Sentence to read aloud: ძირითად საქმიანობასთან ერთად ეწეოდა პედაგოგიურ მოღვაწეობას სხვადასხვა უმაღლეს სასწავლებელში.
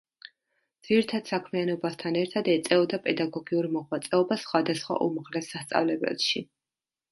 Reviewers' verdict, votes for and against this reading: accepted, 2, 0